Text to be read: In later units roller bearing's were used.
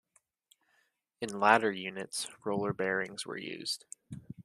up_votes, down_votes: 1, 2